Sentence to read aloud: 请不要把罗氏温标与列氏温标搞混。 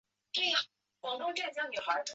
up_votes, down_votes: 2, 4